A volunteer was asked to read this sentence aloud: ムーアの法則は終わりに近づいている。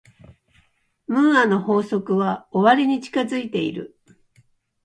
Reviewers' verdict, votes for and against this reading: accepted, 3, 0